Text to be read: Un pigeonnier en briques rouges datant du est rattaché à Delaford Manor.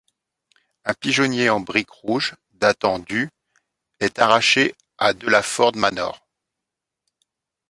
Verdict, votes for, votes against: rejected, 1, 2